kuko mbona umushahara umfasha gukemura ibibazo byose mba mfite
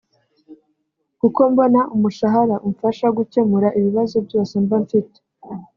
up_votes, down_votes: 3, 1